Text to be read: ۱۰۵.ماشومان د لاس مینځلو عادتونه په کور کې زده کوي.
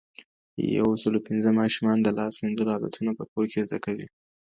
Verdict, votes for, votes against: rejected, 0, 2